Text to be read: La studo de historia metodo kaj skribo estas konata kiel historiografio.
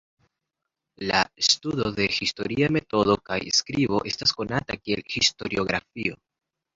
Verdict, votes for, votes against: accepted, 2, 0